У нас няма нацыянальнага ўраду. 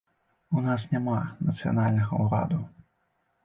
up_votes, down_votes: 3, 0